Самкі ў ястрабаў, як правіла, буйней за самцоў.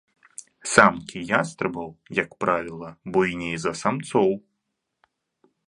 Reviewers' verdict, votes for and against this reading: rejected, 1, 2